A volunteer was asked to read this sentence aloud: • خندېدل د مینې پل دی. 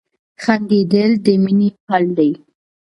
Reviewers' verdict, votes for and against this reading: rejected, 0, 2